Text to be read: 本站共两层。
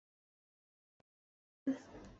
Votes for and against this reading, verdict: 1, 4, rejected